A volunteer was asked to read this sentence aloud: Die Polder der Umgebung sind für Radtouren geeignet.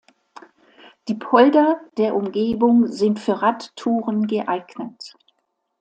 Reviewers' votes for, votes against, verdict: 2, 0, accepted